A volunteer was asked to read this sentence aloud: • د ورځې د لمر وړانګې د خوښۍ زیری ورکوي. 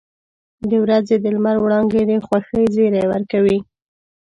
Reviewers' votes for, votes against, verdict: 0, 2, rejected